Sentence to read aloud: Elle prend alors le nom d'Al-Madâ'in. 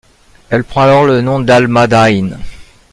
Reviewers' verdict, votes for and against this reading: rejected, 1, 2